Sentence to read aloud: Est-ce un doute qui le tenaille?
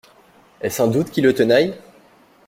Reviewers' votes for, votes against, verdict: 2, 0, accepted